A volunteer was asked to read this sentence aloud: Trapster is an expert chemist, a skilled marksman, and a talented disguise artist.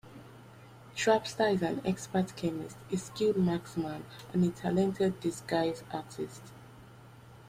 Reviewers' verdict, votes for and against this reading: rejected, 1, 2